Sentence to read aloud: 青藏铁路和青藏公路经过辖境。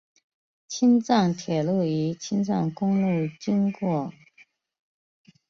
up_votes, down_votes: 1, 3